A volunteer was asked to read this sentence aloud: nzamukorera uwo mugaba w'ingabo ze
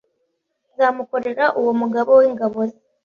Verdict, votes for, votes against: rejected, 1, 2